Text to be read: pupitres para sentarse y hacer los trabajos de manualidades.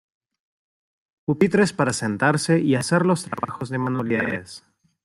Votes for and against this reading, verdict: 0, 2, rejected